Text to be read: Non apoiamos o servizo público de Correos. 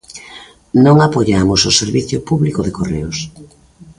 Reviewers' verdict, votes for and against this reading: accepted, 2, 1